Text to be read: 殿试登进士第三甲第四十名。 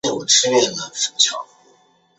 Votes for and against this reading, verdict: 0, 2, rejected